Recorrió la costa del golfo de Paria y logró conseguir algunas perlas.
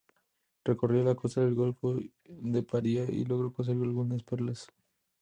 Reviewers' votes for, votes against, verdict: 2, 0, accepted